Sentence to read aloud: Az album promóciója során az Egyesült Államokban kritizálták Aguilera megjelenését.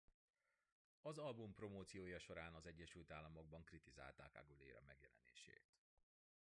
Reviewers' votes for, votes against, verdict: 0, 2, rejected